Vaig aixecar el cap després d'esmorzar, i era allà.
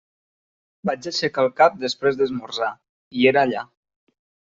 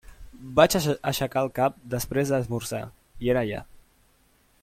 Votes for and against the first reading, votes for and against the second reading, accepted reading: 3, 0, 0, 2, first